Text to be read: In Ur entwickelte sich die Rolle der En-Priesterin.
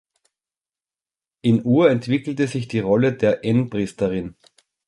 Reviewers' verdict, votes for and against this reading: accepted, 2, 0